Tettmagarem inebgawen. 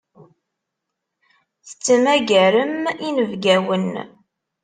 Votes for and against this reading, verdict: 2, 0, accepted